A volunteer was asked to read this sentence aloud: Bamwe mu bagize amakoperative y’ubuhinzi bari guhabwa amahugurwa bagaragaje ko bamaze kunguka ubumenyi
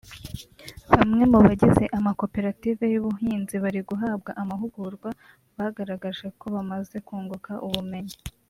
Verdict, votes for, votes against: accepted, 3, 0